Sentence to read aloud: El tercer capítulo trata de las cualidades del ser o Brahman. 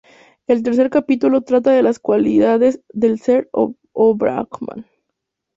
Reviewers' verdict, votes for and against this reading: rejected, 0, 2